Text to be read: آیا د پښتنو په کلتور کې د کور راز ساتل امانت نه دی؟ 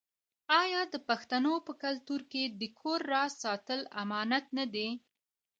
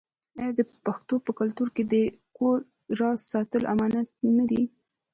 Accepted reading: first